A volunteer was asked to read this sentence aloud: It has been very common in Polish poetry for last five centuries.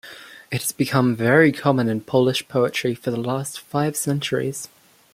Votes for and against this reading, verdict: 1, 2, rejected